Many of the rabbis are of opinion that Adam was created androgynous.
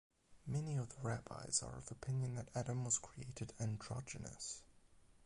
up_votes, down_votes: 4, 4